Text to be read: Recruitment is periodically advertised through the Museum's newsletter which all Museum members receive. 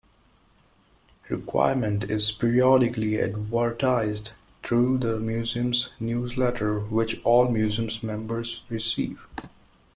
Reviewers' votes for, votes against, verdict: 0, 2, rejected